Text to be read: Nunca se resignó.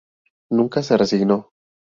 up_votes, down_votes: 2, 0